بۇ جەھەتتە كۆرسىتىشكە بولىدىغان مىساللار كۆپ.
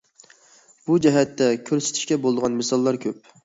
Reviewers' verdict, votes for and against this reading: accepted, 2, 0